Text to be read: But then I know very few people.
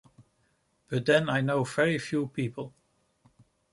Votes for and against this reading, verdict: 2, 0, accepted